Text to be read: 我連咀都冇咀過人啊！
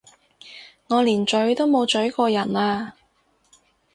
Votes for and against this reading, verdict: 4, 0, accepted